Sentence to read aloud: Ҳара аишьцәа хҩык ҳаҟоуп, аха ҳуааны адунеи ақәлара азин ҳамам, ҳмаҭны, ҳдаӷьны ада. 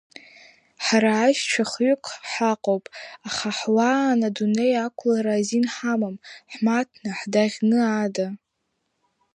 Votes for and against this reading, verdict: 1, 2, rejected